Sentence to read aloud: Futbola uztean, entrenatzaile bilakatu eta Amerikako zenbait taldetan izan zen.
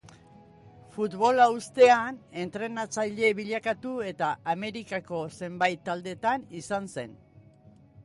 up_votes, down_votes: 2, 0